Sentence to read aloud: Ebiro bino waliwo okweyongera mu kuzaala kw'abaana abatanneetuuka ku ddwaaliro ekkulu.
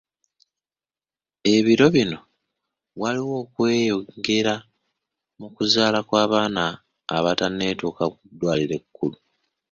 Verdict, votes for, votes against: accepted, 2, 0